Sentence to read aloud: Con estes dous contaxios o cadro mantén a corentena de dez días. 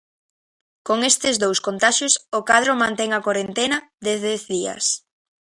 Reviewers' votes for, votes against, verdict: 2, 0, accepted